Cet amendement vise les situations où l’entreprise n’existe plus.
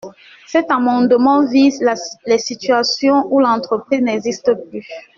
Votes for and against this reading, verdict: 1, 2, rejected